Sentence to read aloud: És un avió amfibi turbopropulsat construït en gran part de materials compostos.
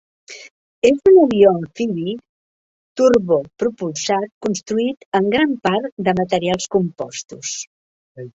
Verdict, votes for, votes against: rejected, 0, 2